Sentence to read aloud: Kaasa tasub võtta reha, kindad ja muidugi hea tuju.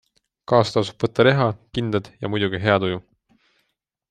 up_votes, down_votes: 2, 0